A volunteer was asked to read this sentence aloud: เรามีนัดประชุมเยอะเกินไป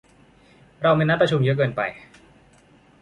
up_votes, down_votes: 2, 1